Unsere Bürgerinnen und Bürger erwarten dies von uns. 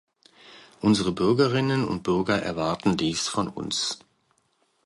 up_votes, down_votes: 2, 0